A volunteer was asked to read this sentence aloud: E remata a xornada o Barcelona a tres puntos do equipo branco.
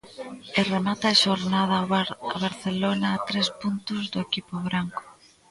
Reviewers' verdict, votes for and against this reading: rejected, 1, 2